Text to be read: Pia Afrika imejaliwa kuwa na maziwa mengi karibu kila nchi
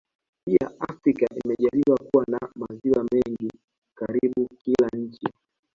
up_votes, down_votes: 0, 2